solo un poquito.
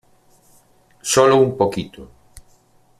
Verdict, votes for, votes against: accepted, 2, 0